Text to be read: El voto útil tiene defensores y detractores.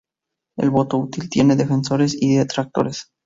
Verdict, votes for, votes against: accepted, 2, 0